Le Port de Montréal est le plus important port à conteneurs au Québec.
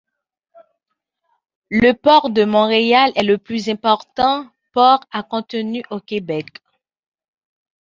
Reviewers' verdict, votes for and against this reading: rejected, 1, 2